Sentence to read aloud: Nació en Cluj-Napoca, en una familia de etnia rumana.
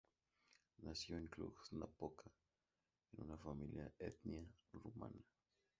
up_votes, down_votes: 0, 2